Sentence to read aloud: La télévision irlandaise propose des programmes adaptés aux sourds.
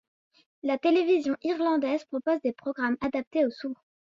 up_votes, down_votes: 2, 0